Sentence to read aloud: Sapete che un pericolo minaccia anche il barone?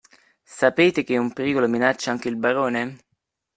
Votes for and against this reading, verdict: 2, 0, accepted